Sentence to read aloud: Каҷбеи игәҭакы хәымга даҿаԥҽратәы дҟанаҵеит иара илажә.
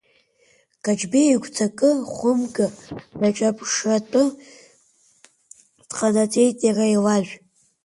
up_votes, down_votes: 2, 0